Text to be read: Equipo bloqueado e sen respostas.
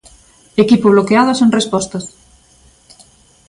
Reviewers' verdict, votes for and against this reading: accepted, 2, 0